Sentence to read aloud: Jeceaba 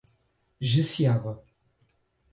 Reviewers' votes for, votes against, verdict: 4, 0, accepted